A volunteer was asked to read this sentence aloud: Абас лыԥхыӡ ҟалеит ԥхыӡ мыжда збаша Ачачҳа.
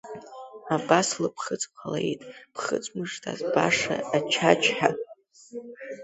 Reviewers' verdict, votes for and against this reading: accepted, 2, 0